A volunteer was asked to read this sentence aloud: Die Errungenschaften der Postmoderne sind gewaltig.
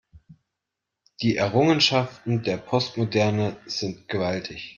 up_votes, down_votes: 2, 0